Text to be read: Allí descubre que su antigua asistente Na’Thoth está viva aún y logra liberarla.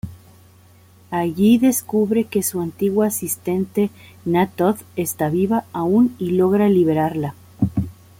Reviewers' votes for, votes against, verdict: 2, 0, accepted